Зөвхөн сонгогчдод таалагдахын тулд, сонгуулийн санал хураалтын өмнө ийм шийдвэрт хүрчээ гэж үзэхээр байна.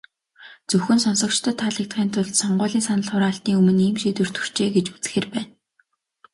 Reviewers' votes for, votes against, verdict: 2, 0, accepted